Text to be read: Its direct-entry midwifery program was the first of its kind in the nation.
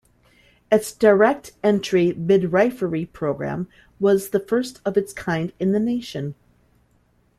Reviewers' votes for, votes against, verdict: 2, 1, accepted